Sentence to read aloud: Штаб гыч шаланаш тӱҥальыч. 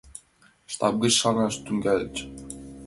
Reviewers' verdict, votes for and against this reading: rejected, 1, 2